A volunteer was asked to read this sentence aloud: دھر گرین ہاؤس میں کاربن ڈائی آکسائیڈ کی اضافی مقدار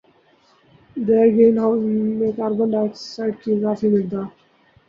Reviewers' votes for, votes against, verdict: 0, 2, rejected